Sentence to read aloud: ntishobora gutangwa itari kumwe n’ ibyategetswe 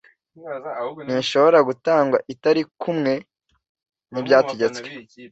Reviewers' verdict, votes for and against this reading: accepted, 2, 0